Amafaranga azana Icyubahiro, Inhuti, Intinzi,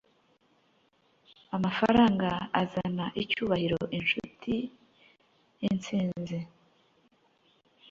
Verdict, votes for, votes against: rejected, 1, 2